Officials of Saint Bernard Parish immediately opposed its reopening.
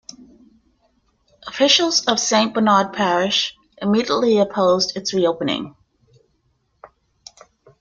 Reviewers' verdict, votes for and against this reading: accepted, 2, 0